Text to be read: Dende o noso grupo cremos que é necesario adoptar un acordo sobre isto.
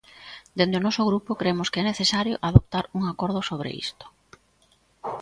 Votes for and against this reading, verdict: 2, 0, accepted